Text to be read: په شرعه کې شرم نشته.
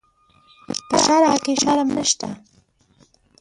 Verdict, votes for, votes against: rejected, 0, 2